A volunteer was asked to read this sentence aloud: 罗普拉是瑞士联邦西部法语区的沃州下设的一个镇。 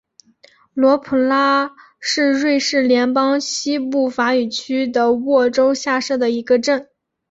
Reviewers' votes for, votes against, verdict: 3, 1, accepted